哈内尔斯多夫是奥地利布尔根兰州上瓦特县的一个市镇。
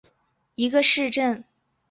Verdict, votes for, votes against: rejected, 0, 2